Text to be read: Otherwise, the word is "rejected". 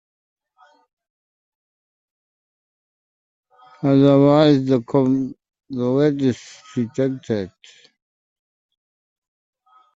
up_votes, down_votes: 0, 2